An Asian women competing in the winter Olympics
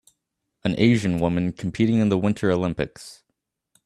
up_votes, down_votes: 3, 0